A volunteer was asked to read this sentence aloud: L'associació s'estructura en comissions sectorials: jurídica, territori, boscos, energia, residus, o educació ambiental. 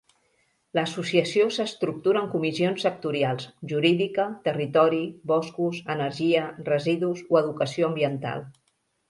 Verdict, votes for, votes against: accepted, 3, 0